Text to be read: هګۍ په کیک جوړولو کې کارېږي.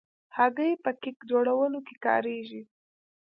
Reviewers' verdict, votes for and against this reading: rejected, 0, 2